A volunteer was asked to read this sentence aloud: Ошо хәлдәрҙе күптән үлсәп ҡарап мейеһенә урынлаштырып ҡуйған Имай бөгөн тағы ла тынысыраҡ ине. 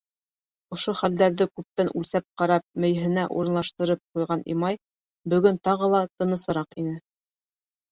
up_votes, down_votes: 2, 0